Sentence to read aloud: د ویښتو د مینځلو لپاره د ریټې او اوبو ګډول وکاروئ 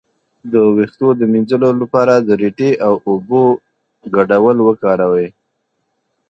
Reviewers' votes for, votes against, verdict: 2, 0, accepted